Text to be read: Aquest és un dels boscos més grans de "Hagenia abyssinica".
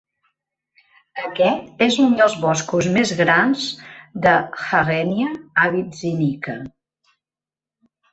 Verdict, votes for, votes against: rejected, 0, 2